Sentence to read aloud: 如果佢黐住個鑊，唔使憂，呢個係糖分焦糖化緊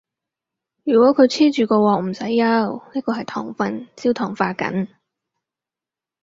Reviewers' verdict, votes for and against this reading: accepted, 4, 0